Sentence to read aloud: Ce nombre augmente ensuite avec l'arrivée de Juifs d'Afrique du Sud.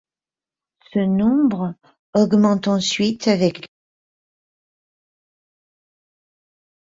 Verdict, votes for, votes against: rejected, 0, 2